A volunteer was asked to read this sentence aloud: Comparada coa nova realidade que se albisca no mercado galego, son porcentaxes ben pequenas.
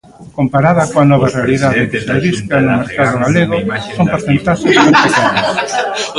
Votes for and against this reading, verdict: 0, 2, rejected